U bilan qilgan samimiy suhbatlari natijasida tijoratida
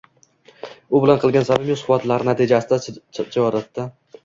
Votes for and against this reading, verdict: 0, 2, rejected